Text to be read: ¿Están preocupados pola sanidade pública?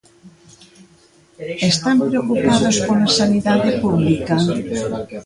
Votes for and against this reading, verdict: 1, 2, rejected